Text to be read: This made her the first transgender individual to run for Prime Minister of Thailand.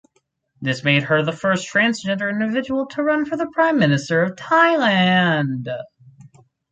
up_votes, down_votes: 2, 2